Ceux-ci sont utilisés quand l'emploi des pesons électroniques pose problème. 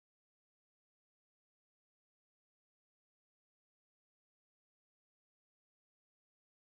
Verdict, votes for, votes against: rejected, 0, 2